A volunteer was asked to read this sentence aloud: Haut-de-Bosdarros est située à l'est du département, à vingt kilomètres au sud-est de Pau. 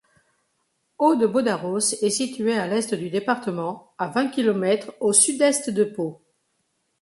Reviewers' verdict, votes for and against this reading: accepted, 2, 0